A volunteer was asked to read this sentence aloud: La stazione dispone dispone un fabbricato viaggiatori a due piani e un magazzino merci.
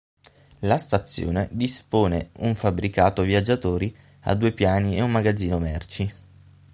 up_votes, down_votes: 3, 6